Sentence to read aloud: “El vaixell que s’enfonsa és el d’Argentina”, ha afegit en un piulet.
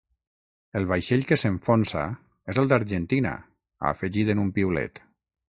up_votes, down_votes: 3, 6